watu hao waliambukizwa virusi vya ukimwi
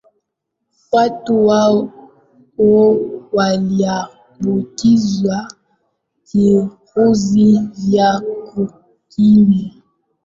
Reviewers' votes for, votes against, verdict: 0, 2, rejected